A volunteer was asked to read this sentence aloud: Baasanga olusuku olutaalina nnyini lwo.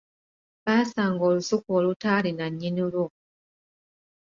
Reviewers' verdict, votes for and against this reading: rejected, 1, 2